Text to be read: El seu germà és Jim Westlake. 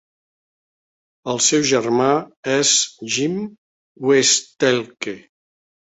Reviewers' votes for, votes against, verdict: 0, 2, rejected